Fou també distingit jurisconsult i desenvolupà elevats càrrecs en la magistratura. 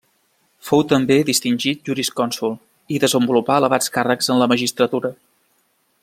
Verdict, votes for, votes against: accepted, 2, 0